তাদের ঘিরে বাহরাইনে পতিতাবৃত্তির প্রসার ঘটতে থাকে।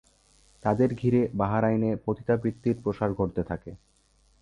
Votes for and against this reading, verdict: 3, 0, accepted